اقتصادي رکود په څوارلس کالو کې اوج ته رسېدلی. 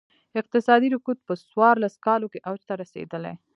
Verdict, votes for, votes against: rejected, 1, 2